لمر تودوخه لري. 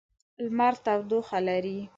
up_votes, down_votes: 2, 0